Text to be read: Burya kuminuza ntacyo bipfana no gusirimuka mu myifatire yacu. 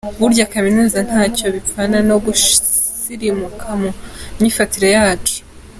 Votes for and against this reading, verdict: 2, 0, accepted